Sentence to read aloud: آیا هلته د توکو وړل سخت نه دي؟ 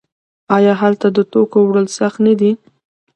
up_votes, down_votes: 2, 1